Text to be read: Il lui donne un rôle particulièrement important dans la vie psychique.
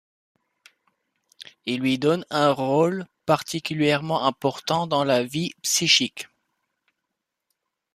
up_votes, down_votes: 2, 0